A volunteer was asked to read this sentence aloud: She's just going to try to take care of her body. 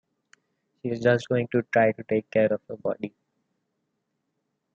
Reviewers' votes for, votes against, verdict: 0, 2, rejected